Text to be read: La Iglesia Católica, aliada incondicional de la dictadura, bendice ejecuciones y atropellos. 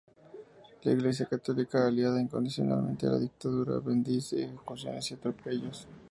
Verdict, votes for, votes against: accepted, 2, 0